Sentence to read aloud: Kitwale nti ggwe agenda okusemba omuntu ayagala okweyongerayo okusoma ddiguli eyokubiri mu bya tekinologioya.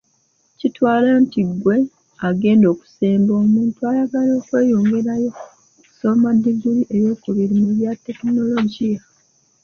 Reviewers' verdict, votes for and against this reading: rejected, 1, 2